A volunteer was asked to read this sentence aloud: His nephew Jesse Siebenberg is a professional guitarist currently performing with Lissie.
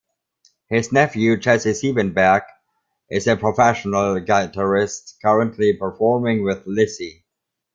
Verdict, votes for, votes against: accepted, 2, 1